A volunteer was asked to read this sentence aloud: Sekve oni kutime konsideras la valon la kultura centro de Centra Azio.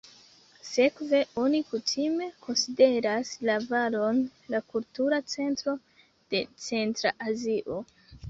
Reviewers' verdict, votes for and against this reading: rejected, 1, 2